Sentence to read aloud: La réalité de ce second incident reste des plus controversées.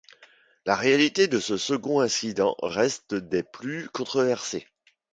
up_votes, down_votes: 2, 0